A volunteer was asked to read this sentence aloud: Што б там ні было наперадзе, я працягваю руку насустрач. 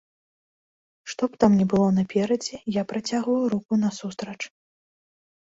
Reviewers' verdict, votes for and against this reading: accepted, 2, 0